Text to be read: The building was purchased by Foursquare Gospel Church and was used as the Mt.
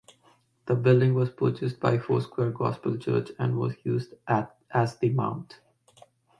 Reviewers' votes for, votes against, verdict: 1, 2, rejected